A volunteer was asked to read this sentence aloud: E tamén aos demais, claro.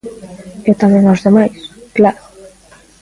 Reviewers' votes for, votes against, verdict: 2, 0, accepted